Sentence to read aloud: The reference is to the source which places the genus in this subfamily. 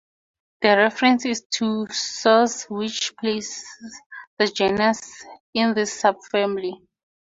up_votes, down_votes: 0, 2